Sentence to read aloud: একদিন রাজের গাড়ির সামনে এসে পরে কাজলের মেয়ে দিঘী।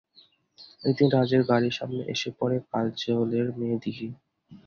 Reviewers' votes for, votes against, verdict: 2, 0, accepted